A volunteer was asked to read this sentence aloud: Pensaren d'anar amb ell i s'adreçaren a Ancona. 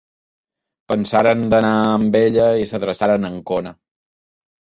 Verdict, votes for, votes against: rejected, 1, 2